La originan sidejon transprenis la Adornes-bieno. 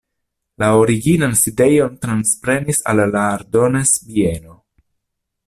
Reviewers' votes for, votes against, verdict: 0, 2, rejected